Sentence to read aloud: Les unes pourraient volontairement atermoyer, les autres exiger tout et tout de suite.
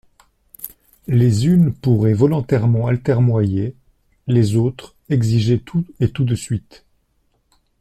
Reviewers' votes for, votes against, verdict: 0, 2, rejected